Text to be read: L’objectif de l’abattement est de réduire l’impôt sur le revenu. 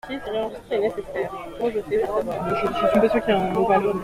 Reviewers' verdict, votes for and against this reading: rejected, 0, 2